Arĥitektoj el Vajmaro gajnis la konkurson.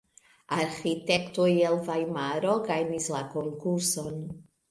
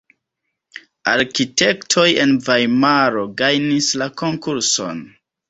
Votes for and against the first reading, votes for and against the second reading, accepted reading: 2, 0, 0, 2, first